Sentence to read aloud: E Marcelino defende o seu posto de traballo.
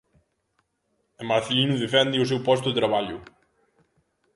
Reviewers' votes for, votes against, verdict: 2, 0, accepted